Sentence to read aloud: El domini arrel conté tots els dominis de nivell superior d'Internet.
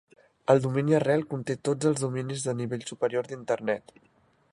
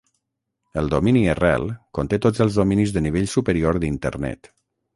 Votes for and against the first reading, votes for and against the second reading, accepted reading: 3, 0, 0, 3, first